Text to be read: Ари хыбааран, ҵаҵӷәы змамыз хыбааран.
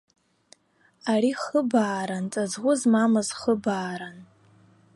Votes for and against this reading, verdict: 1, 2, rejected